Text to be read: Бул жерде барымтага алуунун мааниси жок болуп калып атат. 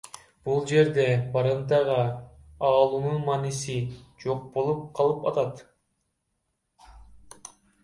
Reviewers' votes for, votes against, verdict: 1, 2, rejected